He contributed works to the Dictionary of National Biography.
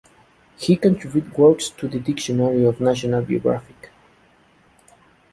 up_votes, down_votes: 0, 2